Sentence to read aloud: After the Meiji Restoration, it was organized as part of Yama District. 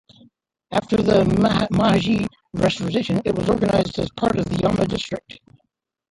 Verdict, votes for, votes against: rejected, 0, 2